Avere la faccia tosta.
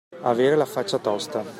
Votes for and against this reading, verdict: 2, 0, accepted